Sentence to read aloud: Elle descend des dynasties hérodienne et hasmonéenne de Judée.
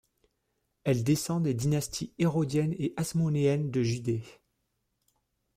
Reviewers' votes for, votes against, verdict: 2, 0, accepted